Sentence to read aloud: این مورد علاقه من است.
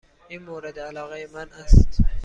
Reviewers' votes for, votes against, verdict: 2, 0, accepted